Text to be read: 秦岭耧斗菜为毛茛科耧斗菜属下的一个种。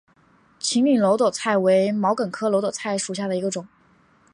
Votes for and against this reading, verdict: 5, 1, accepted